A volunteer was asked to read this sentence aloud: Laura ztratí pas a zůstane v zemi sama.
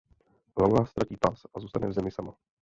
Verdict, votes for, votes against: rejected, 1, 2